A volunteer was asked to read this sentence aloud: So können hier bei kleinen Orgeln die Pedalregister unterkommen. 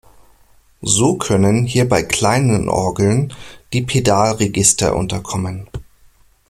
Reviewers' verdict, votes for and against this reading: accepted, 2, 0